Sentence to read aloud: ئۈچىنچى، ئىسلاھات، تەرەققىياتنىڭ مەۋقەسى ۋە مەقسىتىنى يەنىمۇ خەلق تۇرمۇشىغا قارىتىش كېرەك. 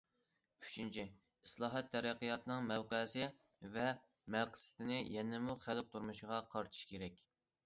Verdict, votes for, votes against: accepted, 2, 0